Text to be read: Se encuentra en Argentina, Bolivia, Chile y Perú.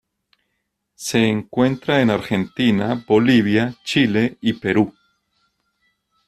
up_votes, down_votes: 2, 0